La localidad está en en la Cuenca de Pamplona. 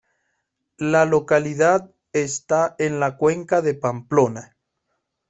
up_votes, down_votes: 2, 0